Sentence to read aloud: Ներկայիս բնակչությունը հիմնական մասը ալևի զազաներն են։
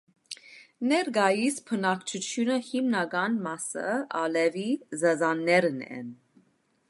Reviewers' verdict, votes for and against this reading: accepted, 2, 1